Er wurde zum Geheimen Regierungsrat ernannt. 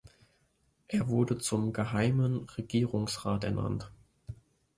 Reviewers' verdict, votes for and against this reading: accepted, 2, 0